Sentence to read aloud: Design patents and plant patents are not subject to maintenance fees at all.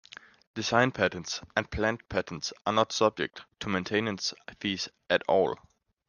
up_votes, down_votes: 2, 1